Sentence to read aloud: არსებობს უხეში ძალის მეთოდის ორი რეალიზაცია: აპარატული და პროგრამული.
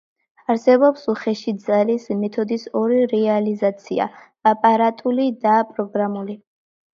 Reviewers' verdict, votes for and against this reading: accepted, 2, 0